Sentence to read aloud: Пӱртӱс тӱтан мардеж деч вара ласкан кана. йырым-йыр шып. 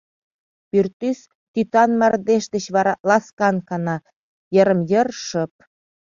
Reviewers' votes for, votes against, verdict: 2, 0, accepted